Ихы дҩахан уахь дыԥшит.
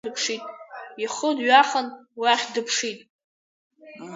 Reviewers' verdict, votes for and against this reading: accepted, 4, 1